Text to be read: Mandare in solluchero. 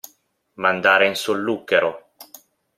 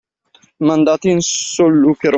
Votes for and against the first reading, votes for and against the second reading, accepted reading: 2, 1, 0, 2, first